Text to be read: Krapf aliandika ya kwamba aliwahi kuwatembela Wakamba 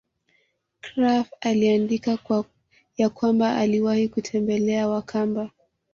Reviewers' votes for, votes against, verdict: 1, 2, rejected